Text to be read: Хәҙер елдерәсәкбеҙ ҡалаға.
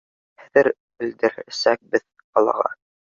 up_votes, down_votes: 1, 2